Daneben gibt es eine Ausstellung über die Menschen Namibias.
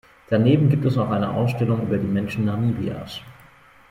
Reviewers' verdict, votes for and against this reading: rejected, 0, 2